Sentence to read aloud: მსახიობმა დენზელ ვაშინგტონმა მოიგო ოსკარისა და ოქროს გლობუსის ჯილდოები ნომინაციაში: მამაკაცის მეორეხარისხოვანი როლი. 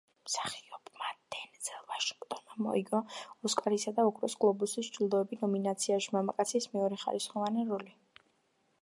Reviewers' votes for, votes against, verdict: 1, 2, rejected